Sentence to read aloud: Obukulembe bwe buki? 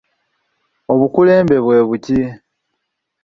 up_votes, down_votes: 1, 2